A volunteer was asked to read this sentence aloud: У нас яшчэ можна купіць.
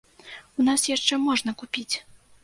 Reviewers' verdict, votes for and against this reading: accepted, 2, 0